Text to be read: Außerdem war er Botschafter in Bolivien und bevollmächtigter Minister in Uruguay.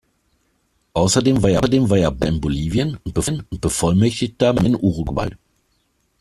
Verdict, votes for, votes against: rejected, 0, 2